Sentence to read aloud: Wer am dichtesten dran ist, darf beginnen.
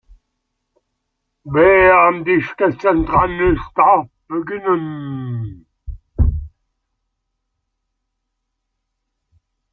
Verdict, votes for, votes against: rejected, 1, 3